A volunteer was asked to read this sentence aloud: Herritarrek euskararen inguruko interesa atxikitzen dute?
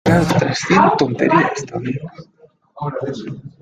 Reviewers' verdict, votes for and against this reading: rejected, 0, 2